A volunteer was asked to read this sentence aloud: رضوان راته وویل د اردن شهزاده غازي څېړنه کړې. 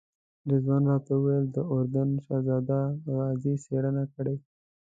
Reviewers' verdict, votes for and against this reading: rejected, 0, 2